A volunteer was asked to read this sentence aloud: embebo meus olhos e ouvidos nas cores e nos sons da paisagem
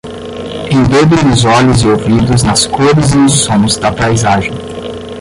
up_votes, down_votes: 0, 10